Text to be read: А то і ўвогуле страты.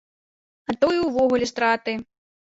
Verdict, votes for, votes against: accepted, 2, 0